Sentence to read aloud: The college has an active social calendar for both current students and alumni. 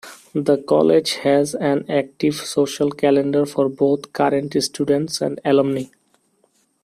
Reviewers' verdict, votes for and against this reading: accepted, 2, 1